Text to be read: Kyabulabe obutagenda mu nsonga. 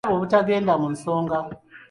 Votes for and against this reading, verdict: 1, 2, rejected